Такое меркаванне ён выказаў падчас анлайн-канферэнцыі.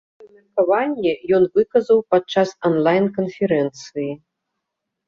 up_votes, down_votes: 1, 2